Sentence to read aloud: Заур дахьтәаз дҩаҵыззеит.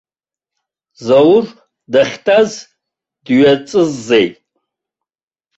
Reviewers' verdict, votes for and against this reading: rejected, 0, 2